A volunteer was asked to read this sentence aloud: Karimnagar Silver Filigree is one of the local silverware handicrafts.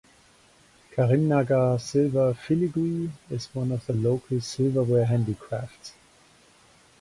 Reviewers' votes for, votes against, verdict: 2, 0, accepted